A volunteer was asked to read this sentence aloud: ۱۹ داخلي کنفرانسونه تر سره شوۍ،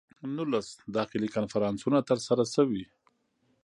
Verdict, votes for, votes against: rejected, 0, 2